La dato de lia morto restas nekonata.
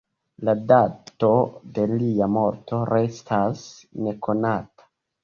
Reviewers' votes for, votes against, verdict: 0, 2, rejected